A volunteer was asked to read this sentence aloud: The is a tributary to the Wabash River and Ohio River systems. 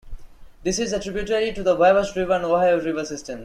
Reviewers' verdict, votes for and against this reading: rejected, 1, 2